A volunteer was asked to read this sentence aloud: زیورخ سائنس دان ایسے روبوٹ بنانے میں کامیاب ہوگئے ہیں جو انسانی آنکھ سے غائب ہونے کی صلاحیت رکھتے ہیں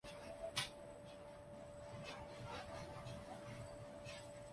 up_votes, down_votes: 0, 2